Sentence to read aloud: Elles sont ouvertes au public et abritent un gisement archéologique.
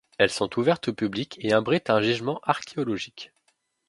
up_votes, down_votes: 2, 0